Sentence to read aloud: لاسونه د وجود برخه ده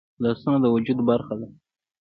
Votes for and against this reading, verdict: 1, 2, rejected